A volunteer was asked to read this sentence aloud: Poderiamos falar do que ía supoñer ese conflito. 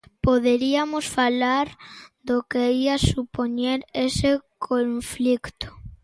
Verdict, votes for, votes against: rejected, 0, 2